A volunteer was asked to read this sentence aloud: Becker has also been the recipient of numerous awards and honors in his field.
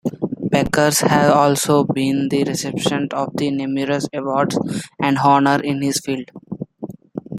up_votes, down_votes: 0, 2